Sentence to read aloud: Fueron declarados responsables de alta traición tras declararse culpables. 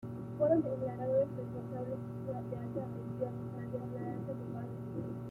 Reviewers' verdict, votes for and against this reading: rejected, 1, 2